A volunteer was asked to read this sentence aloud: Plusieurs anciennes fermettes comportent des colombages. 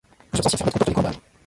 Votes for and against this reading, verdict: 0, 2, rejected